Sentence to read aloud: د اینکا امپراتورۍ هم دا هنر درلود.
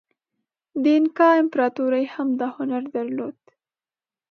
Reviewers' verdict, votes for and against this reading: accepted, 2, 0